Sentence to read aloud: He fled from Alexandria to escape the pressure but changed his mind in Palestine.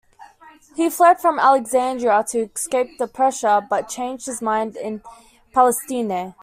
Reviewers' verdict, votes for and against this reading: rejected, 1, 2